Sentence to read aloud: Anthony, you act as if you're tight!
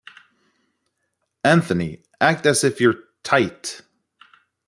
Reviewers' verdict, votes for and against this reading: rejected, 0, 2